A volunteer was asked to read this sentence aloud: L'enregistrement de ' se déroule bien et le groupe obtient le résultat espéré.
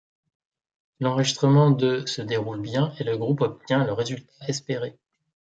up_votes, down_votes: 1, 2